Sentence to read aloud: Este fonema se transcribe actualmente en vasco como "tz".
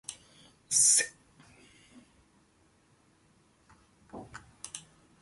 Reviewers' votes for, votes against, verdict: 0, 2, rejected